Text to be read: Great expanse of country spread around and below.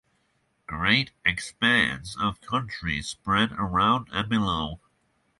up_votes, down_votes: 6, 0